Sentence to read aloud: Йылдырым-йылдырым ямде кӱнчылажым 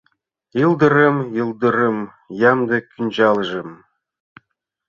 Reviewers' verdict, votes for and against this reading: rejected, 1, 2